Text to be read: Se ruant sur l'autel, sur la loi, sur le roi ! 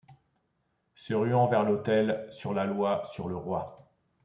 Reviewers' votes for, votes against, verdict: 0, 2, rejected